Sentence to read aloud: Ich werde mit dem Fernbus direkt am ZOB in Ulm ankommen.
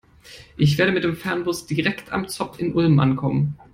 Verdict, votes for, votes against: rejected, 1, 2